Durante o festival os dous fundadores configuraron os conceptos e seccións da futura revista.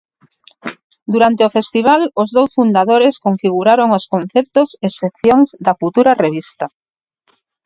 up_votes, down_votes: 0, 4